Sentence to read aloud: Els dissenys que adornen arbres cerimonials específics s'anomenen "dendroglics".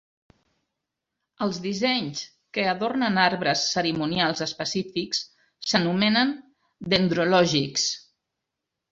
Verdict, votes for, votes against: rejected, 1, 2